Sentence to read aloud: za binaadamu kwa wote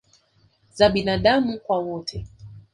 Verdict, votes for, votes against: accepted, 2, 1